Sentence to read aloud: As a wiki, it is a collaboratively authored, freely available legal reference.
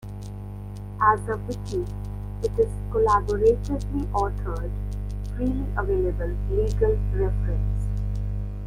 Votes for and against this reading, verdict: 1, 2, rejected